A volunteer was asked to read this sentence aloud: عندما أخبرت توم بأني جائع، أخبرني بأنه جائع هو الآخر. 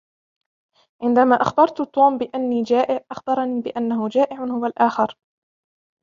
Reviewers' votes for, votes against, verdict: 2, 0, accepted